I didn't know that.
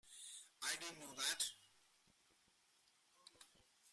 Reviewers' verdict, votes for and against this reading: rejected, 0, 2